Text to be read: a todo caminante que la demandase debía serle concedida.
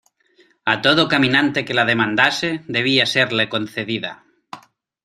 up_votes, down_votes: 2, 0